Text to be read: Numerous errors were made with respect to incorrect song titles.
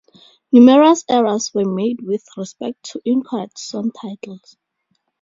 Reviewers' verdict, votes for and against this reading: rejected, 2, 2